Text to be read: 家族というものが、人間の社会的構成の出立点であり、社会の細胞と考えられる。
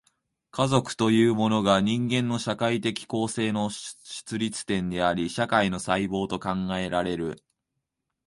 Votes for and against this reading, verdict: 0, 2, rejected